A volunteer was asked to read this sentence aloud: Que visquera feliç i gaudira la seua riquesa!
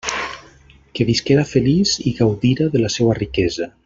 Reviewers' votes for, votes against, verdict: 0, 2, rejected